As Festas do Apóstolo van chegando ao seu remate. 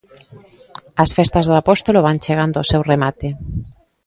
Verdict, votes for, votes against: accepted, 2, 0